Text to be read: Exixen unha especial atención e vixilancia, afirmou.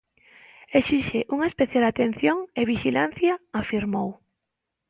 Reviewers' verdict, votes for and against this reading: rejected, 1, 2